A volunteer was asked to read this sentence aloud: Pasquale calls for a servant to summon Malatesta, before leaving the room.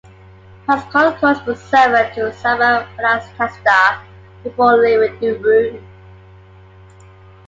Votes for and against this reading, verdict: 0, 2, rejected